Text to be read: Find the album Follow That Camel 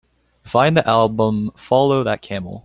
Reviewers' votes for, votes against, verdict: 2, 0, accepted